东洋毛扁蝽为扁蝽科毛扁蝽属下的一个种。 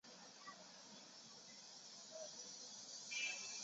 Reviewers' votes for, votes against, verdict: 1, 4, rejected